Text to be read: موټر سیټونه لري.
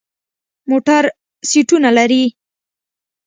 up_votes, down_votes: 2, 0